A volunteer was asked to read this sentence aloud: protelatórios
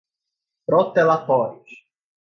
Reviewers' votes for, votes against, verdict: 4, 0, accepted